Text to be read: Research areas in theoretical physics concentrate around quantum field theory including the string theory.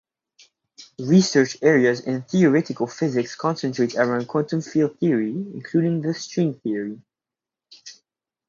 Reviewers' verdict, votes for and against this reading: accepted, 4, 0